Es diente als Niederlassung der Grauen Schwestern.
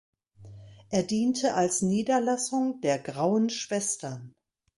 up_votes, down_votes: 0, 2